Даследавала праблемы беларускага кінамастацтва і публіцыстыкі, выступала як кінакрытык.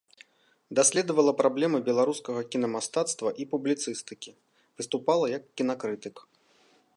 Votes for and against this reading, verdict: 2, 0, accepted